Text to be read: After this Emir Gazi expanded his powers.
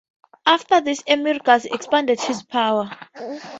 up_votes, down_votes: 2, 0